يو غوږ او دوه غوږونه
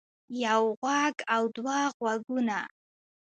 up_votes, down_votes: 2, 0